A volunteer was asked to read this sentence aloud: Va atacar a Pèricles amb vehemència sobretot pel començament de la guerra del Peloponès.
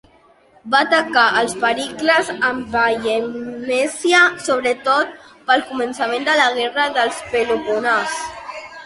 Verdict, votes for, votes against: rejected, 1, 2